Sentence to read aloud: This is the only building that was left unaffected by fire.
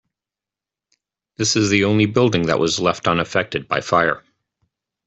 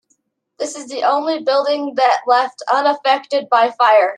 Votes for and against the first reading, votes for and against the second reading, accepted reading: 2, 0, 1, 2, first